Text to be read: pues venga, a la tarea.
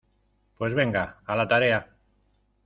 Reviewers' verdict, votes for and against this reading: accepted, 2, 0